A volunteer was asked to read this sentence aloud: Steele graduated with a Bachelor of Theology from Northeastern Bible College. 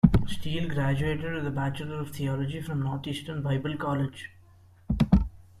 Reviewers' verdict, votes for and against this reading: accepted, 2, 0